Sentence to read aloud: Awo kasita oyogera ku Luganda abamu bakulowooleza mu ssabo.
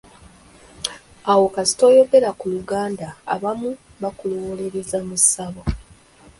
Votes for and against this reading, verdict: 2, 1, accepted